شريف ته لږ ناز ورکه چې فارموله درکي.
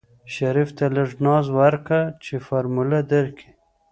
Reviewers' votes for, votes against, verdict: 2, 0, accepted